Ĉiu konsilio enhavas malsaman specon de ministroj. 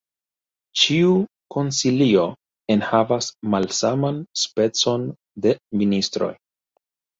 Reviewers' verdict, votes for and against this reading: rejected, 1, 2